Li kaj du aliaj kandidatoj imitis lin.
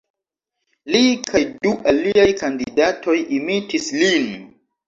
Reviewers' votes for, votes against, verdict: 2, 0, accepted